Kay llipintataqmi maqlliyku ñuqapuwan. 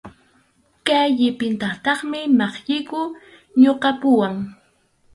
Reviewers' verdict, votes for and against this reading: rejected, 2, 2